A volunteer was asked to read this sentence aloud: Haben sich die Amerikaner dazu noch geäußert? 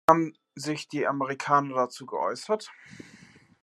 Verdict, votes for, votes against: rejected, 0, 2